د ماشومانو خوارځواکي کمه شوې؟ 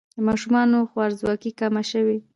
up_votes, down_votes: 2, 0